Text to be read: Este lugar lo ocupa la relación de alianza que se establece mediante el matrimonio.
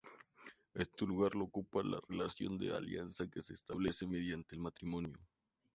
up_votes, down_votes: 2, 0